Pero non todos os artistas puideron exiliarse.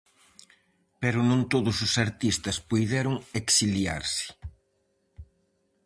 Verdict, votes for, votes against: accepted, 4, 0